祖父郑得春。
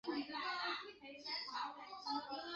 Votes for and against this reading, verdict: 2, 3, rejected